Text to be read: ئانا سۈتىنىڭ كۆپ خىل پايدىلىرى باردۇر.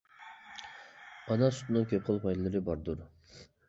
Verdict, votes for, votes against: rejected, 0, 2